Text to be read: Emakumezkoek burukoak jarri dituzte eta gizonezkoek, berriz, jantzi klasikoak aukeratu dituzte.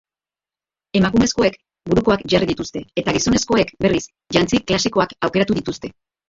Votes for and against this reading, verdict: 2, 0, accepted